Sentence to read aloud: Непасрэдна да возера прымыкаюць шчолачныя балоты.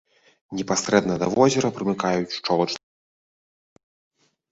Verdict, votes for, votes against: rejected, 0, 2